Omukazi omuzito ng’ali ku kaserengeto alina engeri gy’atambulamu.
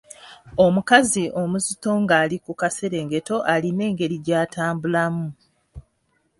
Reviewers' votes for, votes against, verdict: 2, 0, accepted